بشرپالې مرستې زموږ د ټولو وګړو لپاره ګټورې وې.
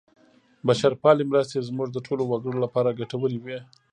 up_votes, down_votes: 2, 0